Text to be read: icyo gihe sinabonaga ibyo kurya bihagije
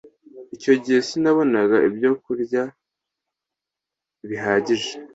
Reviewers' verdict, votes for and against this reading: accepted, 2, 0